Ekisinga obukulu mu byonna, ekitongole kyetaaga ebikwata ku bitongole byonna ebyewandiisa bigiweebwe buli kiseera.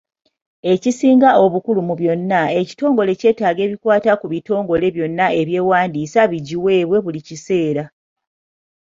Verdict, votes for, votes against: accepted, 3, 0